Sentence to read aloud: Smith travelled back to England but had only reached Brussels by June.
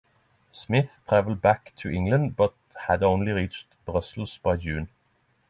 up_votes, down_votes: 6, 3